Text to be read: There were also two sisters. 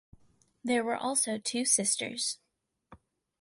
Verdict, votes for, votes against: accepted, 4, 0